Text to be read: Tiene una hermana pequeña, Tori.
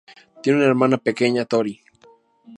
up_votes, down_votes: 2, 0